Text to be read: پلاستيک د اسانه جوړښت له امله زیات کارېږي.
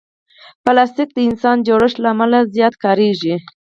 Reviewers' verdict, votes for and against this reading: accepted, 4, 0